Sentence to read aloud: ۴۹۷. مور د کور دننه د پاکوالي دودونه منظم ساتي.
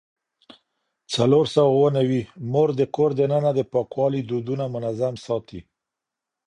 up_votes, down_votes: 0, 2